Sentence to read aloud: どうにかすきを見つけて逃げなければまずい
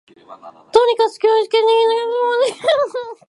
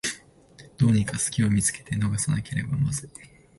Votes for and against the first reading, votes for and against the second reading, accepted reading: 0, 2, 2, 1, second